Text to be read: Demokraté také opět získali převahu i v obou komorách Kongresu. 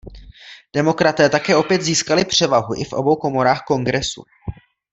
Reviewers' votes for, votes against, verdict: 2, 0, accepted